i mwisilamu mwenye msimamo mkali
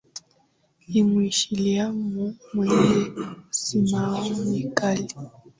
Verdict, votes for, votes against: accepted, 3, 2